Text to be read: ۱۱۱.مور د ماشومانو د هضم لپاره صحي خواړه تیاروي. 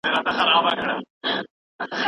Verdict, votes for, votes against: rejected, 0, 2